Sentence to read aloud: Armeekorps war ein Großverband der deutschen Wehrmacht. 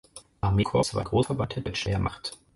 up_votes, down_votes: 2, 4